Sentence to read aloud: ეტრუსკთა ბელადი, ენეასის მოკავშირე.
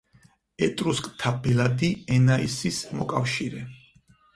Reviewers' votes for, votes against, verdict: 2, 4, rejected